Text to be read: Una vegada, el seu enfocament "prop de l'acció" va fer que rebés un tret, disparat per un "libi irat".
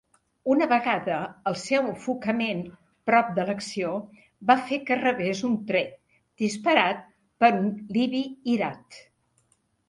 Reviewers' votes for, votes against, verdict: 2, 0, accepted